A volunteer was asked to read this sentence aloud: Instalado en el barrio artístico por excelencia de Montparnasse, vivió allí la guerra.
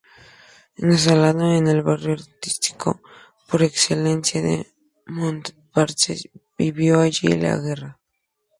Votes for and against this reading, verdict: 0, 8, rejected